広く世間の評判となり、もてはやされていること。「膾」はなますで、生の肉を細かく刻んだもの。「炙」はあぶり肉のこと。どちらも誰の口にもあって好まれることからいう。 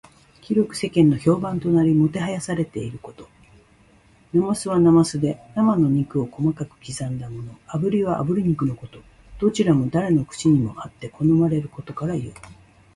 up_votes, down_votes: 2, 0